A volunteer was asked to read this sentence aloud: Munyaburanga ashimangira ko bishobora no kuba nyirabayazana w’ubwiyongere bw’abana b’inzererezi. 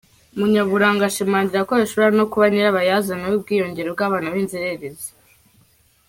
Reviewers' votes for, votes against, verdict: 1, 2, rejected